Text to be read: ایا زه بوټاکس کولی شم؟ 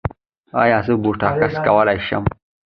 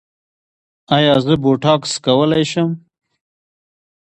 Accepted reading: first